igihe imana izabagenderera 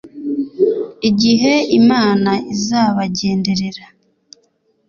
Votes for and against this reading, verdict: 2, 0, accepted